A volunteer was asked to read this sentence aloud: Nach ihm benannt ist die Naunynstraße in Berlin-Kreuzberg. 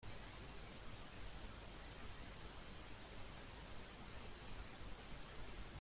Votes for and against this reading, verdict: 0, 2, rejected